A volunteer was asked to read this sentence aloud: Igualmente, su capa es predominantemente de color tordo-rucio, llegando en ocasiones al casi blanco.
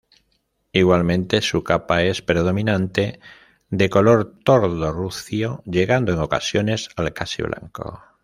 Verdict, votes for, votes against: rejected, 0, 2